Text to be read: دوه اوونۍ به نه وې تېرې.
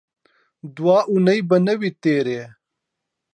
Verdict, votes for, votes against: accepted, 2, 0